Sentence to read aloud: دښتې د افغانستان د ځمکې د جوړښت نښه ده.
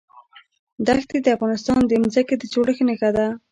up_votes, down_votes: 2, 0